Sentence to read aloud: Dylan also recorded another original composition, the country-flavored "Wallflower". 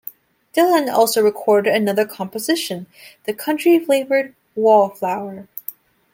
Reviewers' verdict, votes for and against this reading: rejected, 1, 2